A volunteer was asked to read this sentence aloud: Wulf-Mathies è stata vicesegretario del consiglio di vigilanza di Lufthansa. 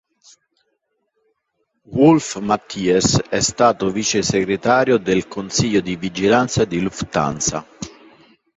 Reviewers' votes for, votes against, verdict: 2, 0, accepted